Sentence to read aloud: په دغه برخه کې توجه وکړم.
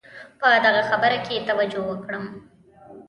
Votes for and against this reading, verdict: 1, 2, rejected